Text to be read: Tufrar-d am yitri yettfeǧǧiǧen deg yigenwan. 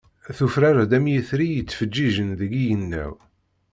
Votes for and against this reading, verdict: 0, 2, rejected